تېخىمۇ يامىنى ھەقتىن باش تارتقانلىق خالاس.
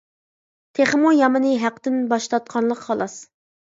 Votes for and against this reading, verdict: 2, 0, accepted